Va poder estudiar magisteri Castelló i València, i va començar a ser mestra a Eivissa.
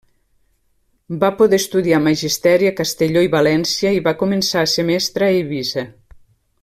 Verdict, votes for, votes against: accepted, 2, 0